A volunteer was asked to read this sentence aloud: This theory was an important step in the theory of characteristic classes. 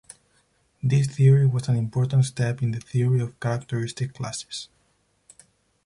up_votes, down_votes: 0, 4